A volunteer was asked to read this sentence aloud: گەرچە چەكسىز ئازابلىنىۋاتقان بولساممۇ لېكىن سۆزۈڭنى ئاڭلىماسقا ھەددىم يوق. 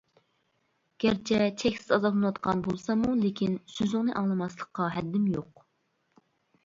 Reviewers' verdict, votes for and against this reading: rejected, 0, 2